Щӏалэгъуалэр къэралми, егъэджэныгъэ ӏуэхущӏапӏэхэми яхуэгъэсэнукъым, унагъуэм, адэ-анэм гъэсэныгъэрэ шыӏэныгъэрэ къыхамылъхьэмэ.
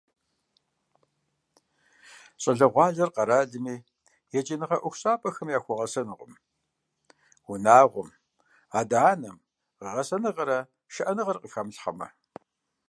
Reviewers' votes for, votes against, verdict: 1, 2, rejected